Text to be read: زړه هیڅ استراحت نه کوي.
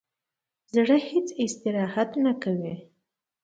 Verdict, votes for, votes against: accepted, 2, 0